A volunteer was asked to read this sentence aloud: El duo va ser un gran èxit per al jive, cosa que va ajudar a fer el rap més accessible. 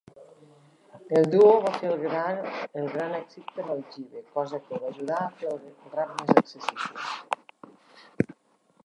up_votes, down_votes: 0, 2